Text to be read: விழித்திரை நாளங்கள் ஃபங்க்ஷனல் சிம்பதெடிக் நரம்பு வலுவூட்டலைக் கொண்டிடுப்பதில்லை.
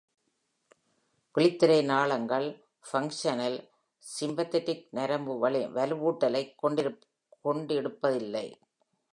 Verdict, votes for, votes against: rejected, 0, 2